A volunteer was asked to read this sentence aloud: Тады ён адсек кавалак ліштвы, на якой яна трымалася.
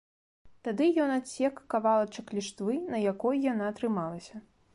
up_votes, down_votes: 0, 2